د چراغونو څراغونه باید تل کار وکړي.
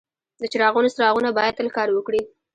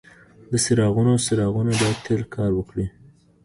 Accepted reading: second